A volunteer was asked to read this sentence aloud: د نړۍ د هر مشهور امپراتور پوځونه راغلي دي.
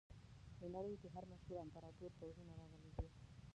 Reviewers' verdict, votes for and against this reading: rejected, 1, 2